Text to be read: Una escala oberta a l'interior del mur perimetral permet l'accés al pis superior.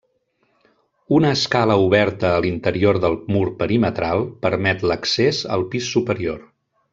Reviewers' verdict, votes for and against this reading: accepted, 3, 0